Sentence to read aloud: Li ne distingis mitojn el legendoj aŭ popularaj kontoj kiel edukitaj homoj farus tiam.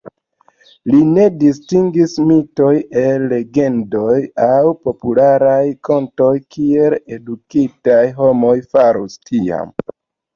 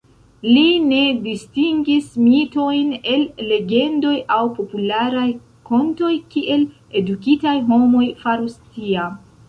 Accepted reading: first